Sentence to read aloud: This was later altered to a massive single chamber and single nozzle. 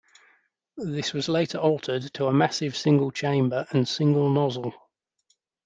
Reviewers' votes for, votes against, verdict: 2, 0, accepted